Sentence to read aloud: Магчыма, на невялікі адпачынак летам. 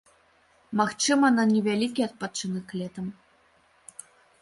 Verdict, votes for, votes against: accepted, 2, 0